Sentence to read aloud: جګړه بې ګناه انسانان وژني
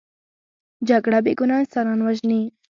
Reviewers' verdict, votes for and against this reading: accepted, 2, 0